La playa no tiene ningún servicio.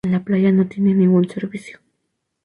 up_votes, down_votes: 2, 2